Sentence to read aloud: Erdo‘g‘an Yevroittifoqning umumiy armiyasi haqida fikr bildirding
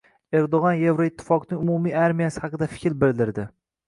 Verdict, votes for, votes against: accepted, 2, 0